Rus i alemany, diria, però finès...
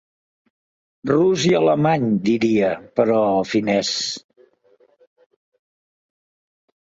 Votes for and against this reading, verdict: 2, 0, accepted